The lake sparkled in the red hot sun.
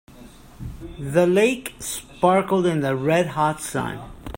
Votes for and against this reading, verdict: 1, 2, rejected